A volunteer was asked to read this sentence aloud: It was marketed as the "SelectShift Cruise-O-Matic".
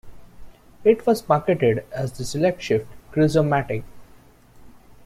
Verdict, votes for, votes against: accepted, 2, 0